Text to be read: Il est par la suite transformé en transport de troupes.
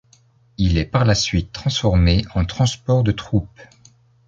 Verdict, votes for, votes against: accepted, 2, 0